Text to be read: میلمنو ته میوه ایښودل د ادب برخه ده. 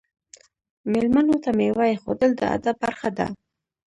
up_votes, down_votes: 0, 2